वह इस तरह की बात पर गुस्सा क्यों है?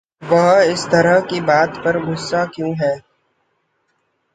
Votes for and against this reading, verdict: 0, 2, rejected